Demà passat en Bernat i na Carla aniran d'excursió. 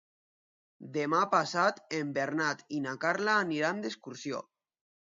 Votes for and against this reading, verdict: 2, 0, accepted